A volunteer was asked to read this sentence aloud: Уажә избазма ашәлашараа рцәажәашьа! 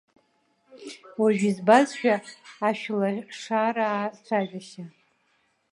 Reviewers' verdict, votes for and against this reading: rejected, 1, 2